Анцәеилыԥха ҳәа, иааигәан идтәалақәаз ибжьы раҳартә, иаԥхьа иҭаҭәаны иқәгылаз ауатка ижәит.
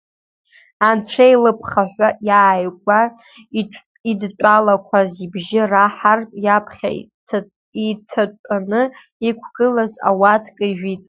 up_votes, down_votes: 1, 3